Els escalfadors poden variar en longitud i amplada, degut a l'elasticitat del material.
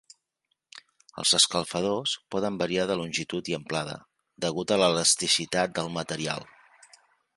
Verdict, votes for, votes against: rejected, 1, 2